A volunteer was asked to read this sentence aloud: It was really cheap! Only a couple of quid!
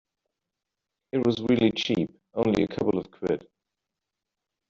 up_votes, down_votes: 1, 2